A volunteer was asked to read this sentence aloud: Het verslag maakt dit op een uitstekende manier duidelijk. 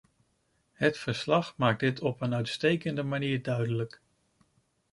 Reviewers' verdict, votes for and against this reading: accepted, 2, 0